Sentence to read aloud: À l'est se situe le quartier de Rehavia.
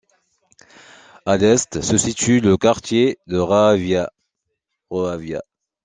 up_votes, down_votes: 0, 2